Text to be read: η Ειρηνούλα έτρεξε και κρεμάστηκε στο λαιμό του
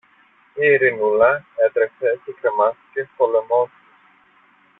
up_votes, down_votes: 1, 2